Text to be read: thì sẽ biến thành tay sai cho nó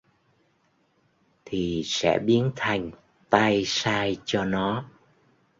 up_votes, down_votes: 2, 0